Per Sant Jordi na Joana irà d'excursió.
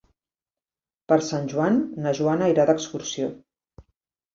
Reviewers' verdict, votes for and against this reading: rejected, 1, 3